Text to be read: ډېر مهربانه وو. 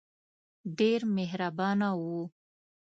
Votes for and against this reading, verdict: 2, 0, accepted